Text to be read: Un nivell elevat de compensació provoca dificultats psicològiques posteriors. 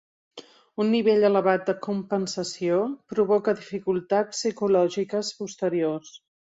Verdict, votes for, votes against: accepted, 2, 0